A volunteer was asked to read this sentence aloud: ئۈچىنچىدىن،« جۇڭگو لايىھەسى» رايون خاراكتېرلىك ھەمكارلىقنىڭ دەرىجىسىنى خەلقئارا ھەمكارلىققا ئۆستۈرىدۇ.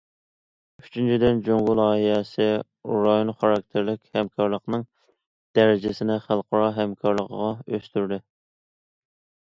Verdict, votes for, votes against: rejected, 0, 2